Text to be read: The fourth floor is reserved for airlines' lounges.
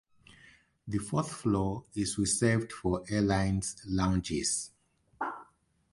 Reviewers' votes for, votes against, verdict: 2, 0, accepted